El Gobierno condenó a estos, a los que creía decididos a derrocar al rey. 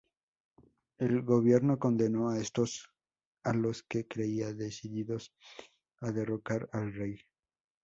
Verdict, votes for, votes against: accepted, 2, 0